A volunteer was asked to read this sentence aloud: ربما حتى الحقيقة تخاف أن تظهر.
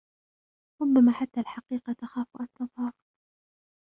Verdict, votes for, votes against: rejected, 0, 2